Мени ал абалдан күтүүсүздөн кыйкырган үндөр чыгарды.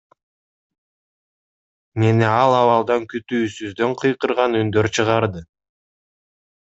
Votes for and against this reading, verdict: 2, 0, accepted